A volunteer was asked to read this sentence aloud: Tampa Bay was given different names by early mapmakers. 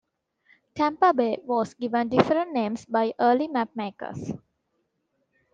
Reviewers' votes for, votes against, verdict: 2, 0, accepted